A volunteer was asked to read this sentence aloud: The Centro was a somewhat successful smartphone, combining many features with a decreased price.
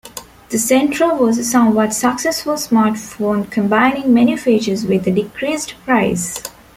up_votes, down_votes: 2, 0